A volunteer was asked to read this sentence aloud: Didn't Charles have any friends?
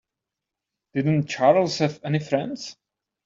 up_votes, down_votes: 2, 0